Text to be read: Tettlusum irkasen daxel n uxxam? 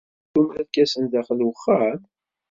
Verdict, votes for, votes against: rejected, 1, 2